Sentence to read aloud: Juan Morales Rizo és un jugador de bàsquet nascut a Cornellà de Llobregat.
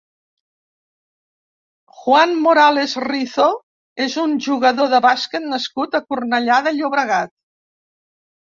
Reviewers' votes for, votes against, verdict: 2, 0, accepted